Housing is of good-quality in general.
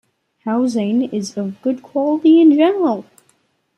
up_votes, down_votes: 2, 0